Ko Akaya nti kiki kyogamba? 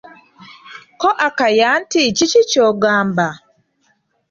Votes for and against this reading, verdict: 2, 1, accepted